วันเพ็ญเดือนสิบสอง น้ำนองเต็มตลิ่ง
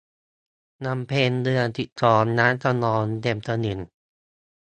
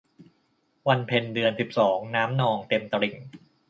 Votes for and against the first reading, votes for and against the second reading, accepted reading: 0, 2, 2, 0, second